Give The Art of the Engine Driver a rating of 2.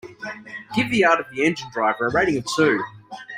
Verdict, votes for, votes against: rejected, 0, 2